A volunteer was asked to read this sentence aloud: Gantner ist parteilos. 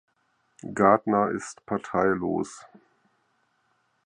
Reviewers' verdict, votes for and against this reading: rejected, 2, 4